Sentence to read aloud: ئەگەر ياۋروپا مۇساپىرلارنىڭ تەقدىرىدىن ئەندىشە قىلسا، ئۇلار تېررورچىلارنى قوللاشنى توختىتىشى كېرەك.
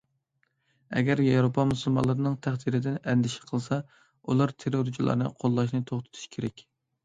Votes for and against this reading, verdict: 0, 2, rejected